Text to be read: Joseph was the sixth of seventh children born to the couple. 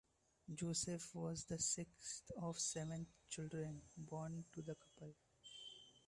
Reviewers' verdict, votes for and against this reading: rejected, 0, 2